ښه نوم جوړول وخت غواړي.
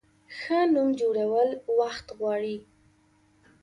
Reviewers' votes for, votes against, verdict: 3, 0, accepted